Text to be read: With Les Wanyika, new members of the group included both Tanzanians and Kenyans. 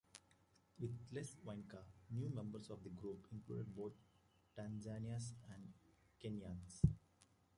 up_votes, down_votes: 0, 2